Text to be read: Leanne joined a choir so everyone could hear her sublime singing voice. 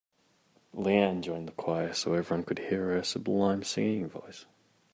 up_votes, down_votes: 4, 0